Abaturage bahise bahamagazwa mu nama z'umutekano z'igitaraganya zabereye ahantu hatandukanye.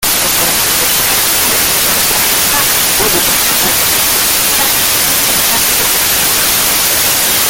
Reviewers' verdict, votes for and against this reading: rejected, 0, 2